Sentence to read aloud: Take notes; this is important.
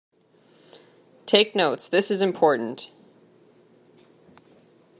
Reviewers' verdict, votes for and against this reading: accepted, 2, 0